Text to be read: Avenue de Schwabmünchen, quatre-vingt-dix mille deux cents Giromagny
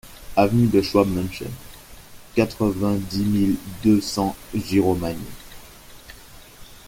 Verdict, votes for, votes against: accepted, 2, 1